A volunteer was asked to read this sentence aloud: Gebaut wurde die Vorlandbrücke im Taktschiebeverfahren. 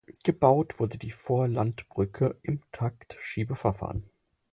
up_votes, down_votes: 6, 0